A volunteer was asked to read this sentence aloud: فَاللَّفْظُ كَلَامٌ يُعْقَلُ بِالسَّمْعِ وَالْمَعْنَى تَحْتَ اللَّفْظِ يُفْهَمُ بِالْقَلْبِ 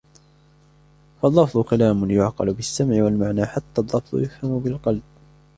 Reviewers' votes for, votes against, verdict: 0, 2, rejected